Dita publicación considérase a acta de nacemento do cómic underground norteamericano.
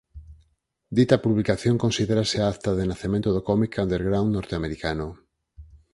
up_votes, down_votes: 4, 0